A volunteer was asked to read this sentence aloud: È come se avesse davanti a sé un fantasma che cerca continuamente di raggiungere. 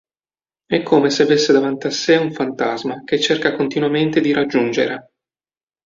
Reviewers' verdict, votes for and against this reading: accepted, 2, 0